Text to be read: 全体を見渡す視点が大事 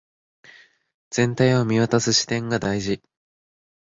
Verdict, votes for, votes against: accepted, 4, 0